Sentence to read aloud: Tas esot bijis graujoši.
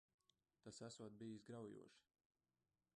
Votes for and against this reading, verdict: 0, 3, rejected